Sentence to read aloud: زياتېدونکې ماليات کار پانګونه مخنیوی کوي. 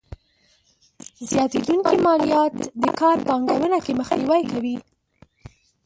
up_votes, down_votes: 1, 2